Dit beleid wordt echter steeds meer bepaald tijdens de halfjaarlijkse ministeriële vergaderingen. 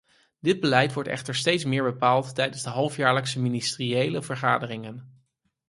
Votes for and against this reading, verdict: 4, 0, accepted